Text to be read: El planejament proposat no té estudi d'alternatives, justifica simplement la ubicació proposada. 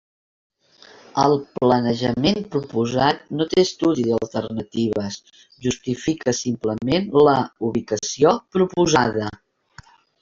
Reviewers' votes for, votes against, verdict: 3, 1, accepted